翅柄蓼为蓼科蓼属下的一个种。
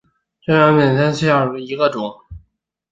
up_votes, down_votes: 0, 3